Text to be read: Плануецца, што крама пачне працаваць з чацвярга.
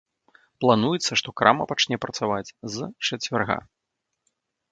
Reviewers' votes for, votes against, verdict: 0, 3, rejected